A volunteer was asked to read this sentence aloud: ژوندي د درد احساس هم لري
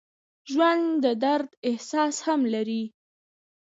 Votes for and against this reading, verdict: 1, 2, rejected